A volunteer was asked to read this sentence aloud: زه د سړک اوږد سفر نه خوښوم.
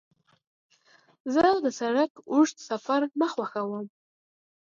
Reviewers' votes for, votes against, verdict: 2, 0, accepted